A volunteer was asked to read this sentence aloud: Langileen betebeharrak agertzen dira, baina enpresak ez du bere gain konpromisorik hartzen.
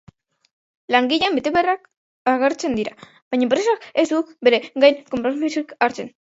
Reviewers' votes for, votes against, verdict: 0, 2, rejected